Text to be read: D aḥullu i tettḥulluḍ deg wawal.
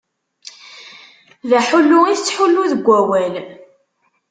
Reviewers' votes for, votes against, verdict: 0, 2, rejected